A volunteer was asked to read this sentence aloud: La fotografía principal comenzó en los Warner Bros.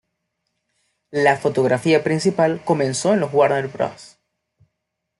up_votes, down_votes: 2, 0